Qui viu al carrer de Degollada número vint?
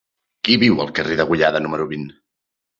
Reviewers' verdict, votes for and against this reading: accepted, 2, 1